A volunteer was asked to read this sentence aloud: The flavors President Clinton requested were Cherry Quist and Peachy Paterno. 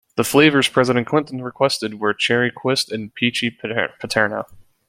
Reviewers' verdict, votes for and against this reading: accepted, 2, 1